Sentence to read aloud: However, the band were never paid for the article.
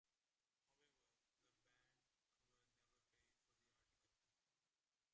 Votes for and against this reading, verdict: 0, 2, rejected